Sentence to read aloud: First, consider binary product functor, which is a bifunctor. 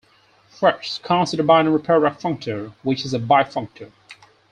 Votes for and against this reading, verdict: 4, 0, accepted